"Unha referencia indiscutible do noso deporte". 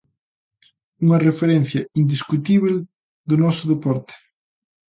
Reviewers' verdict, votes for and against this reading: accepted, 2, 1